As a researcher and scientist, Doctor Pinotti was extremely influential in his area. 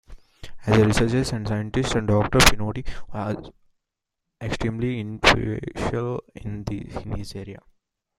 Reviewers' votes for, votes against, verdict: 0, 2, rejected